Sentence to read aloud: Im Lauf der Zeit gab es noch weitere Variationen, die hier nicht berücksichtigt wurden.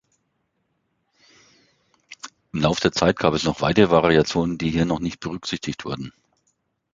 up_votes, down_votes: 0, 2